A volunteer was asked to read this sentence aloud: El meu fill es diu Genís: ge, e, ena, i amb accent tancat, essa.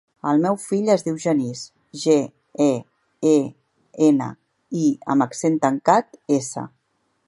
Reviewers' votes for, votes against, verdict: 2, 4, rejected